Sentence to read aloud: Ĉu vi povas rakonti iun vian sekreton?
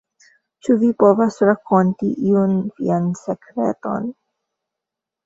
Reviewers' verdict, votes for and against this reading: accepted, 2, 0